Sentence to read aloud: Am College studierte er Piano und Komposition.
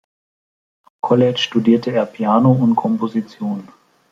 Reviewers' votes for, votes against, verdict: 0, 2, rejected